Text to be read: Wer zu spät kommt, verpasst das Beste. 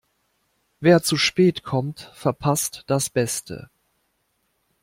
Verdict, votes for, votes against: accepted, 2, 0